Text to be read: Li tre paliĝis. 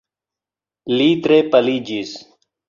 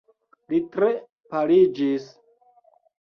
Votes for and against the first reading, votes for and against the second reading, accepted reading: 2, 0, 0, 2, first